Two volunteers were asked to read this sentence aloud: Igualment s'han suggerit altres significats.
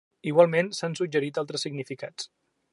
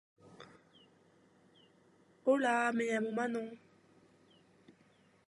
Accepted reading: first